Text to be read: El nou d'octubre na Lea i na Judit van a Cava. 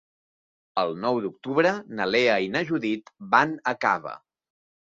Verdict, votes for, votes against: accepted, 2, 0